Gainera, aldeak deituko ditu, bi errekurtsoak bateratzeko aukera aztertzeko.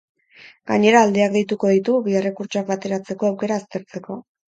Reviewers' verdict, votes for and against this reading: accepted, 4, 0